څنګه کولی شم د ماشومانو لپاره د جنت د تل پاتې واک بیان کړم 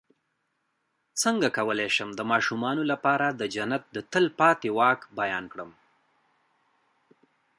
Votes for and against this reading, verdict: 2, 1, accepted